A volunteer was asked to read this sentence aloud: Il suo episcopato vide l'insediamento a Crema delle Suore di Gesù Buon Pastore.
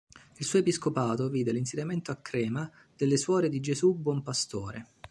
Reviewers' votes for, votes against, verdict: 2, 0, accepted